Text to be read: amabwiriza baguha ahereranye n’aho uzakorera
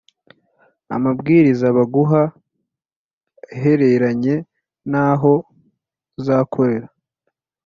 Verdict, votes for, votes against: accepted, 4, 0